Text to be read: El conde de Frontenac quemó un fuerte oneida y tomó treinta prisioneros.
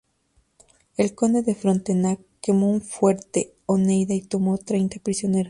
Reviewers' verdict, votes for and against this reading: rejected, 0, 2